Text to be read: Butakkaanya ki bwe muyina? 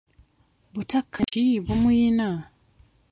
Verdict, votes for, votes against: rejected, 0, 2